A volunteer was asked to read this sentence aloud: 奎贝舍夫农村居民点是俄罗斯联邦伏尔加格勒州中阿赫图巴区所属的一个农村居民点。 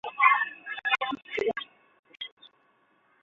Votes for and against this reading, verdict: 1, 2, rejected